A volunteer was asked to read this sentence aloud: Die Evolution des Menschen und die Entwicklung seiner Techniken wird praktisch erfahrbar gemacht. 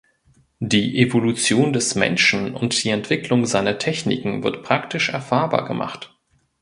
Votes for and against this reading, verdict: 2, 0, accepted